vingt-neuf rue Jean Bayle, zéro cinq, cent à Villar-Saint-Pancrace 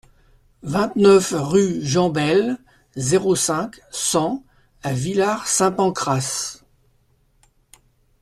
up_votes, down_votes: 2, 0